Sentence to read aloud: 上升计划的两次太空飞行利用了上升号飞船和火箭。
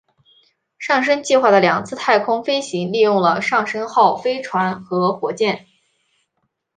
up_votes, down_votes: 2, 0